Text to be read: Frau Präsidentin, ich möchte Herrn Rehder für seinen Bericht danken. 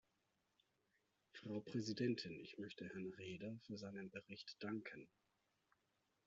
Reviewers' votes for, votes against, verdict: 3, 0, accepted